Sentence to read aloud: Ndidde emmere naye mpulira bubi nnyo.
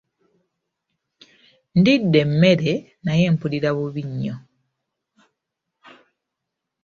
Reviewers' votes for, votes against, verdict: 2, 0, accepted